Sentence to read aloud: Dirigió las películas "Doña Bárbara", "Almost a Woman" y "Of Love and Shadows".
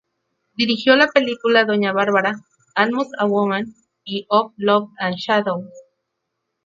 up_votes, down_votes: 0, 2